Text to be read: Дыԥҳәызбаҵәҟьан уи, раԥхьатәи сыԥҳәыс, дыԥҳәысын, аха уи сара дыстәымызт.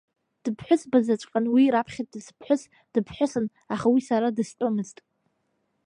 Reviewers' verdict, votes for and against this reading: accepted, 2, 0